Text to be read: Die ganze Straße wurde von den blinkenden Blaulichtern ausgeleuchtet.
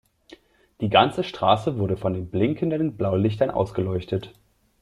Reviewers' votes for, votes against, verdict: 2, 0, accepted